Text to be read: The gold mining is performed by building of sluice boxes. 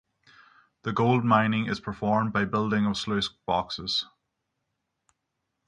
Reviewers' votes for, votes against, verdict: 0, 3, rejected